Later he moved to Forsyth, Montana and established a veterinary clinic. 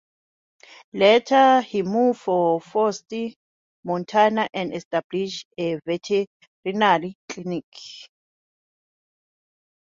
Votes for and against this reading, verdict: 2, 1, accepted